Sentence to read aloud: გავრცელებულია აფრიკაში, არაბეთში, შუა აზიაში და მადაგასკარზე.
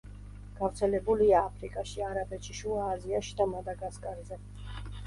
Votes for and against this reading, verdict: 2, 0, accepted